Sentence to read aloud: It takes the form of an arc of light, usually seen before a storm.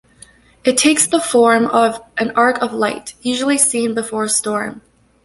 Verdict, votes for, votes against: accepted, 2, 0